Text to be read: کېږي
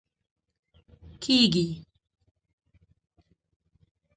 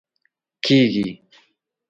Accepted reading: second